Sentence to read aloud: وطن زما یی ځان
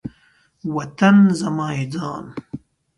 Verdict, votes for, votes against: accepted, 3, 1